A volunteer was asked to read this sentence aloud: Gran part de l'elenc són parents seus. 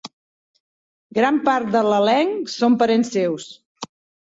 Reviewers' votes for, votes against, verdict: 5, 0, accepted